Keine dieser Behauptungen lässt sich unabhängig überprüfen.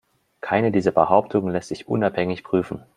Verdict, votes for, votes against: rejected, 1, 2